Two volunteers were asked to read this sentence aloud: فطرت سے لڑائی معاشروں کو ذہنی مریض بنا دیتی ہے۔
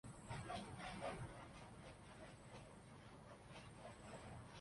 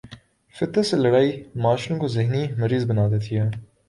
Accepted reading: second